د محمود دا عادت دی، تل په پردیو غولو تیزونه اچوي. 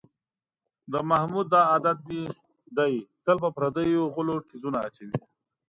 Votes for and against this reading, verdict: 1, 2, rejected